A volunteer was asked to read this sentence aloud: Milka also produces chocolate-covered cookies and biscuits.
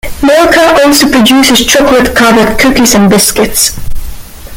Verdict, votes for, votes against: accepted, 2, 0